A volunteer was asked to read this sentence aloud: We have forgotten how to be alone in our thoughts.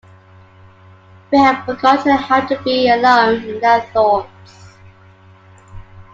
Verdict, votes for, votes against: accepted, 2, 1